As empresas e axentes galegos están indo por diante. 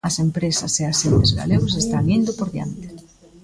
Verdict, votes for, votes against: rejected, 0, 2